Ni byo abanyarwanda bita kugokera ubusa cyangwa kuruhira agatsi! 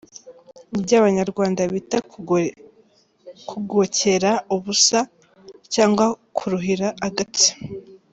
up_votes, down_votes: 1, 2